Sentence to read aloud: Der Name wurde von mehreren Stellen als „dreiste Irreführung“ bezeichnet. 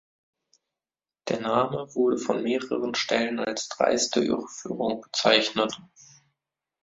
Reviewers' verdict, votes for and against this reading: rejected, 0, 2